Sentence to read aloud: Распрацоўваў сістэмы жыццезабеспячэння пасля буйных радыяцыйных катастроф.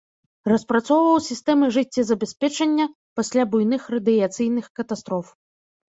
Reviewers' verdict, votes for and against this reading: rejected, 1, 2